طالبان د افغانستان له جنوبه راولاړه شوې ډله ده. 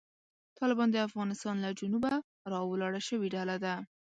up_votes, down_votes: 2, 0